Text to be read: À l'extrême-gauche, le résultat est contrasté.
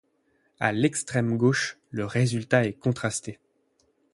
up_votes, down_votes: 8, 0